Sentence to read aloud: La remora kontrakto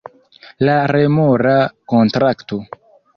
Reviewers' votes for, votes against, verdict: 0, 2, rejected